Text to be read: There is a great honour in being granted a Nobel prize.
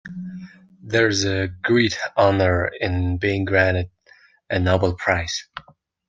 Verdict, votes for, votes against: rejected, 1, 2